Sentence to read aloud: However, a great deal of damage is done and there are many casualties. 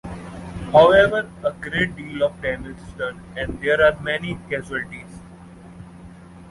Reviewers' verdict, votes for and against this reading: accepted, 2, 0